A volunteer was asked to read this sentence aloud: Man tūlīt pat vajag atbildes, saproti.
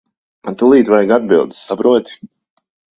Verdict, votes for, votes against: rejected, 1, 2